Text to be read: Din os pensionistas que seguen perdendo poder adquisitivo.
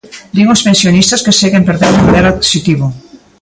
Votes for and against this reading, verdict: 0, 2, rejected